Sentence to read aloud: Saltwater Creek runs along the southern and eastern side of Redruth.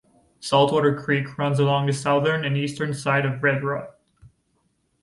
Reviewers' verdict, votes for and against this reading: accepted, 2, 0